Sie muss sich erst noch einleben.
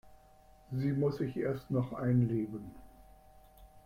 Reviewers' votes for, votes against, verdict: 3, 0, accepted